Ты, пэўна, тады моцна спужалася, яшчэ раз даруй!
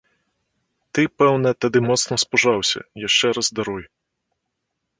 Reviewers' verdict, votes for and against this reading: accepted, 2, 0